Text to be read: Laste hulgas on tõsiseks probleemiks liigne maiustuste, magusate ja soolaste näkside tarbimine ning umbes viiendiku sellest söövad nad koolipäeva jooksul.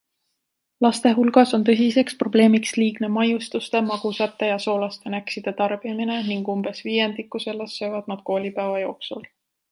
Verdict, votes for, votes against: accepted, 2, 0